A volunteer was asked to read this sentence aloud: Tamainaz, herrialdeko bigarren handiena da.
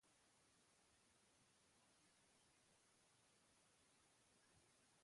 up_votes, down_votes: 0, 2